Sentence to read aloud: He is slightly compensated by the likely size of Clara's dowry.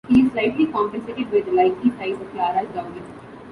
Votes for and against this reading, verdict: 1, 2, rejected